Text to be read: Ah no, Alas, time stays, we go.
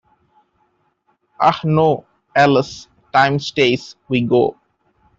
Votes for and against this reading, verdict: 0, 2, rejected